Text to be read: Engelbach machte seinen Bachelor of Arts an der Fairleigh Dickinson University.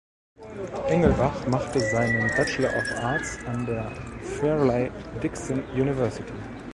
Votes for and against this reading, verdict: 1, 2, rejected